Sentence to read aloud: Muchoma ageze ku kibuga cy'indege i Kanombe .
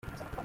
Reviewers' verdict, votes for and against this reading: rejected, 0, 2